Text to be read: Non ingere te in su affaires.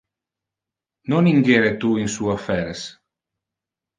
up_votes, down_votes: 1, 2